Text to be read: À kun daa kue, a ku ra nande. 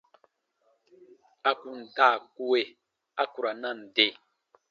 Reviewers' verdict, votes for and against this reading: accepted, 2, 0